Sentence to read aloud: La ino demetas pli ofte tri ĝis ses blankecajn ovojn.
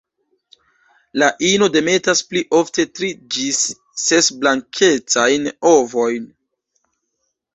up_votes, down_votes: 1, 2